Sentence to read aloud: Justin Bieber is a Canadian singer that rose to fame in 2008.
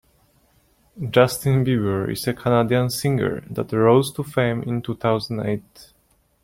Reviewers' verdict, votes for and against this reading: rejected, 0, 2